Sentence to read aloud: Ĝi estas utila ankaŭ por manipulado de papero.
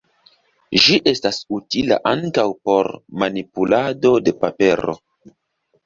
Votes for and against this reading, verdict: 2, 0, accepted